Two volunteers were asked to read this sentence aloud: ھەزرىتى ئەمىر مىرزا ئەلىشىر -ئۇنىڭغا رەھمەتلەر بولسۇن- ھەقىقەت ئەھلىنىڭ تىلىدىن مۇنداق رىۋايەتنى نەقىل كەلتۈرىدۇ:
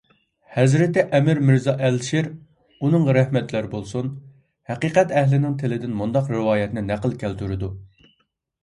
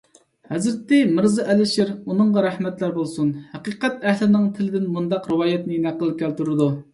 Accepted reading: first